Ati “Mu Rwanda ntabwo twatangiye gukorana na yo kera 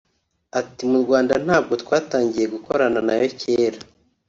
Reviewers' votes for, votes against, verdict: 2, 0, accepted